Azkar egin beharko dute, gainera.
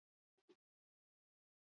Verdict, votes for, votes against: rejected, 0, 2